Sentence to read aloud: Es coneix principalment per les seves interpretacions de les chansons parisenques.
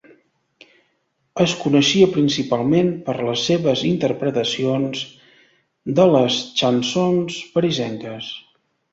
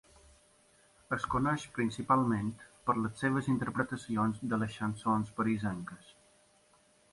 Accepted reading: second